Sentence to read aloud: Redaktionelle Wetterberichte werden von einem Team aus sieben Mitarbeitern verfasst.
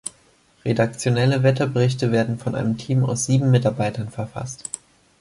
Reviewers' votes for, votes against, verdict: 2, 0, accepted